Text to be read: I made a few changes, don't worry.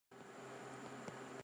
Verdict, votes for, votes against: rejected, 0, 2